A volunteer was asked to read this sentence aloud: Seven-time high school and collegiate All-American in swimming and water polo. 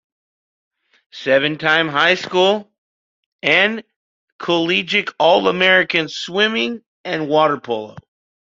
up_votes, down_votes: 0, 2